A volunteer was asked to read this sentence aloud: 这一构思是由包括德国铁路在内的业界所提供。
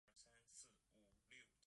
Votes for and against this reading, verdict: 0, 3, rejected